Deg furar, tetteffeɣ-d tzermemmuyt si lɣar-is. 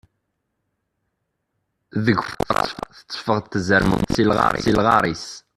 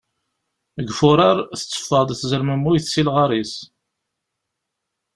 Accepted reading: second